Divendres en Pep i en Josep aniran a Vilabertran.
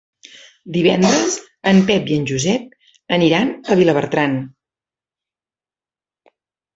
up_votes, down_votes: 1, 2